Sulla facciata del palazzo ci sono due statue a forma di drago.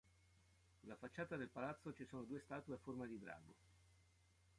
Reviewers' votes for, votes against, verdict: 1, 2, rejected